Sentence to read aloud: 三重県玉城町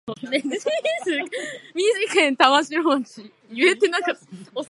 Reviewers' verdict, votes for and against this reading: rejected, 0, 2